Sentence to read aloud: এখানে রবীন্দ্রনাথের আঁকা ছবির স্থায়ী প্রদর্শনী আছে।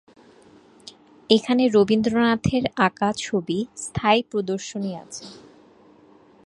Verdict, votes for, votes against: rejected, 2, 2